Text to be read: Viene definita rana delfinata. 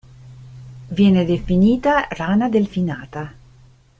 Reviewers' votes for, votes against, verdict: 2, 0, accepted